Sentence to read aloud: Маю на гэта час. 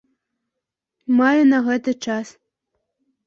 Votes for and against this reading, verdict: 2, 0, accepted